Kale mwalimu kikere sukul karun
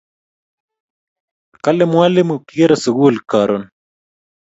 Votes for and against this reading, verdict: 2, 0, accepted